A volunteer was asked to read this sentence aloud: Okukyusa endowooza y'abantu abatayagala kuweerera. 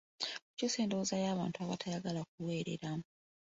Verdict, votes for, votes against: rejected, 1, 2